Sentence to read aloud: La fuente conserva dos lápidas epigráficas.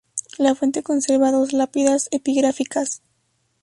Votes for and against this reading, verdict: 2, 2, rejected